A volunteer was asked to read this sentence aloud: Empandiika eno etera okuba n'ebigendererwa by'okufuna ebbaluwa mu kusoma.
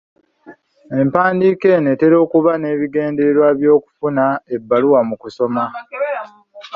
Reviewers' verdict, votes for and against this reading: accepted, 2, 1